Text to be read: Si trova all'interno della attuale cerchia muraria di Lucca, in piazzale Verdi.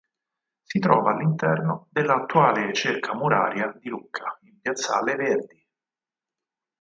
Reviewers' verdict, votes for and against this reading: rejected, 2, 4